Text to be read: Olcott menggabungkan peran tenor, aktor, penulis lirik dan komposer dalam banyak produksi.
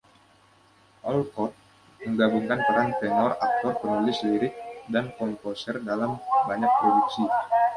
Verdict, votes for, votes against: accepted, 2, 0